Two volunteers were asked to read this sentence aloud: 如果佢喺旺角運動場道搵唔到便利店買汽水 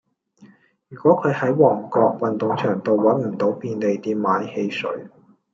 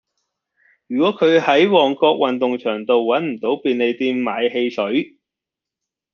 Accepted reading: second